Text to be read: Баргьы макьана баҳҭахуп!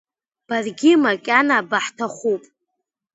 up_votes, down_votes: 2, 0